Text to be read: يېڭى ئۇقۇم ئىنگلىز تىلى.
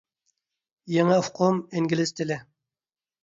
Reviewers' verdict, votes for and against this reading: accepted, 2, 0